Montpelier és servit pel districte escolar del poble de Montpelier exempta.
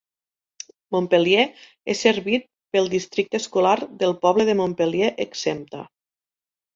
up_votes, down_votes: 2, 1